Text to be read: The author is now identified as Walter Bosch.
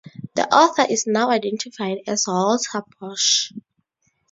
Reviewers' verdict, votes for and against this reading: accepted, 2, 0